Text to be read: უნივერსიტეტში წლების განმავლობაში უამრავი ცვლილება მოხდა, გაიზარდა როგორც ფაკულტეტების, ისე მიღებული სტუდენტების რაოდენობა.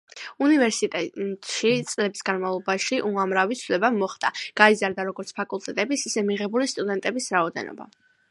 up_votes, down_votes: 2, 0